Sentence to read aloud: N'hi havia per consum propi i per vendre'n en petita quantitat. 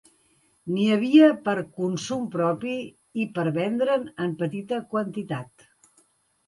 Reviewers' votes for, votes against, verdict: 2, 0, accepted